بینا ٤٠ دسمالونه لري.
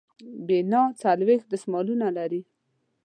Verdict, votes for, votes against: rejected, 0, 2